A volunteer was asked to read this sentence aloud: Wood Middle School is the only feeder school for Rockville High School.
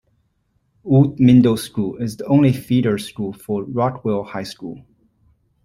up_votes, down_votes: 0, 2